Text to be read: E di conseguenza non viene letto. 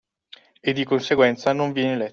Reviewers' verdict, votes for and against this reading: rejected, 0, 2